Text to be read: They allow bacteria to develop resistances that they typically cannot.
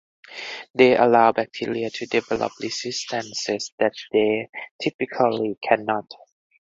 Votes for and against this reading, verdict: 4, 2, accepted